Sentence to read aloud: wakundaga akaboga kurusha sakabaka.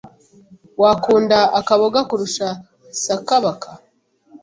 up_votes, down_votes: 0, 2